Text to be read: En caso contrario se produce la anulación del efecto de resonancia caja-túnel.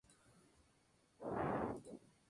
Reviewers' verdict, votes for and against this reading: rejected, 0, 2